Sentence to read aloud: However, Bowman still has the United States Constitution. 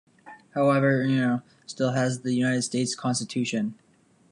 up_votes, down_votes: 0, 2